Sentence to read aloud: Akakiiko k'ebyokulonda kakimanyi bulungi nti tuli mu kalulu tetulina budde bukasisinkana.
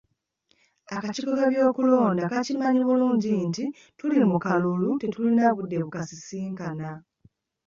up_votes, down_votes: 2, 0